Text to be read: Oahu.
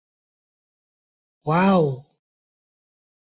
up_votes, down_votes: 2, 1